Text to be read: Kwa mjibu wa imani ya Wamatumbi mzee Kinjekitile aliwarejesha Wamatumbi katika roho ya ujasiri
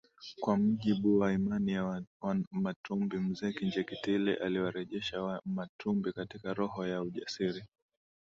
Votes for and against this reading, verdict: 2, 1, accepted